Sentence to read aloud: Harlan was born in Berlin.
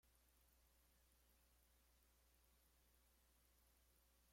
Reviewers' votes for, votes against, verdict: 0, 2, rejected